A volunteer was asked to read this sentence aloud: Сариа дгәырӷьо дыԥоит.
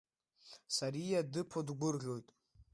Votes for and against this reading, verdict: 1, 2, rejected